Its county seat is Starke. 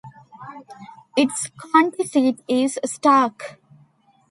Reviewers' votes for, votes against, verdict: 1, 2, rejected